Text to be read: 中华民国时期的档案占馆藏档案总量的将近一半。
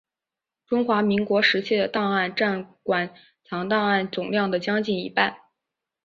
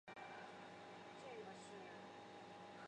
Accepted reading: first